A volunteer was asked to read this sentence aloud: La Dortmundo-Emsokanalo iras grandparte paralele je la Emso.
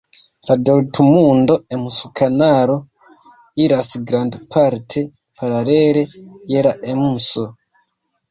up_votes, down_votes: 2, 0